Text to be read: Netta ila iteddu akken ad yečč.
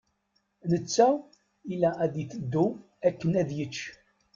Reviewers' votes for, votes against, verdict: 1, 2, rejected